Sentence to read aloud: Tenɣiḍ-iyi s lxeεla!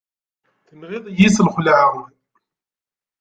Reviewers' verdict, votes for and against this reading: rejected, 1, 2